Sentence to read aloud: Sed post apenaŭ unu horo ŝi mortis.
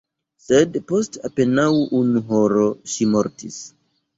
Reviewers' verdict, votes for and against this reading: rejected, 1, 2